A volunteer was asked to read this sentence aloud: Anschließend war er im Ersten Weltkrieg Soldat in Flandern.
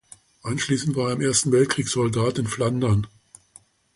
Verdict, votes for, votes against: rejected, 1, 2